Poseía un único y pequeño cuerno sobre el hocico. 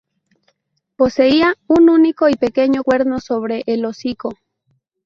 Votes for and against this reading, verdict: 2, 0, accepted